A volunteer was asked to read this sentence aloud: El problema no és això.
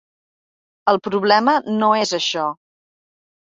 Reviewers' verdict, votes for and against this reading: accepted, 3, 0